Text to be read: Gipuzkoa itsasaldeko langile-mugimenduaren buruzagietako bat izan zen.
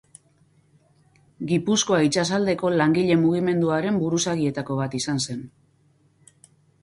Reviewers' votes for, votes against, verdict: 0, 2, rejected